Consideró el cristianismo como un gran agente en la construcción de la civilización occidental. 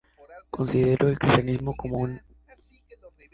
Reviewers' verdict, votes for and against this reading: rejected, 0, 2